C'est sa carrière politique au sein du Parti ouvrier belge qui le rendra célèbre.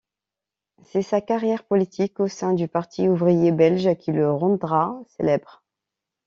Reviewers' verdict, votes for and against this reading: rejected, 1, 2